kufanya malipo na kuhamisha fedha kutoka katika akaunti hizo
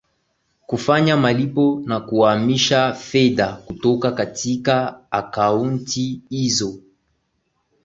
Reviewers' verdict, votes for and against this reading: accepted, 2, 0